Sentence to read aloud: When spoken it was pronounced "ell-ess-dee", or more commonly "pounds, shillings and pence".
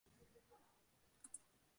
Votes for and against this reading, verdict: 0, 2, rejected